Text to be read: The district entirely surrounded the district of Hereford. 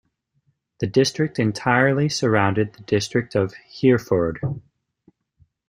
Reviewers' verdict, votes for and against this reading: rejected, 0, 2